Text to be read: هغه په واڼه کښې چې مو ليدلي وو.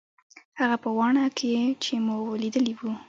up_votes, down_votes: 0, 2